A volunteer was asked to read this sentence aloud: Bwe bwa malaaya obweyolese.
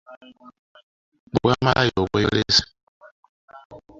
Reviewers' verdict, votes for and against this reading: rejected, 1, 2